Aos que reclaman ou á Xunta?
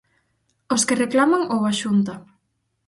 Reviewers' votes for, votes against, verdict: 4, 0, accepted